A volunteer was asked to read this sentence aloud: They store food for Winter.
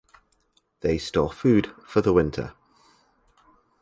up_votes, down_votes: 0, 4